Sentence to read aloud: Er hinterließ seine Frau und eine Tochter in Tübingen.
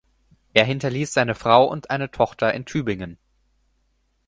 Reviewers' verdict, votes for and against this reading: accepted, 4, 0